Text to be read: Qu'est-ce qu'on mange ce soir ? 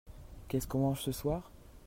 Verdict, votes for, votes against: rejected, 1, 2